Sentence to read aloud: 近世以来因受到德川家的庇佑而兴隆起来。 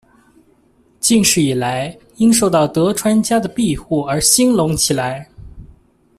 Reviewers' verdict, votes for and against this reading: rejected, 1, 2